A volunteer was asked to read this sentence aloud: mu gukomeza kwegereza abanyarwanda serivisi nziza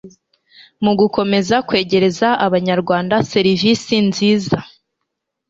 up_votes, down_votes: 2, 0